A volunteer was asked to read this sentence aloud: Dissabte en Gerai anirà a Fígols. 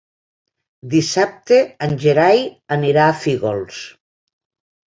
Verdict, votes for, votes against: accepted, 3, 0